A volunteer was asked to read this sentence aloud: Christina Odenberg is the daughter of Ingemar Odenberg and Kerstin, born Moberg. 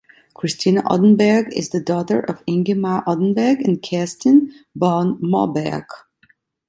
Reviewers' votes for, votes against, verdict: 2, 0, accepted